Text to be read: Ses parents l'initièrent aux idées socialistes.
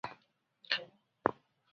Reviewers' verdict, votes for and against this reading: rejected, 0, 2